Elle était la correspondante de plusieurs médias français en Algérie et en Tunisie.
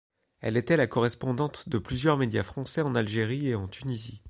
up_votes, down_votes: 2, 0